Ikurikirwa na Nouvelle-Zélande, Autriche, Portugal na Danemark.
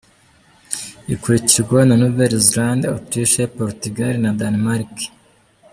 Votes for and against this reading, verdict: 2, 0, accepted